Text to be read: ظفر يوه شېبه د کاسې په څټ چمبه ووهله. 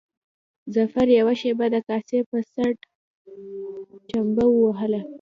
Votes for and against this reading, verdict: 2, 0, accepted